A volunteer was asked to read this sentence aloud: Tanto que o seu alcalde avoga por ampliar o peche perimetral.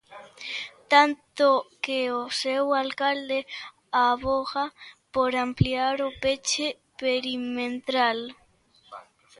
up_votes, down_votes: 0, 2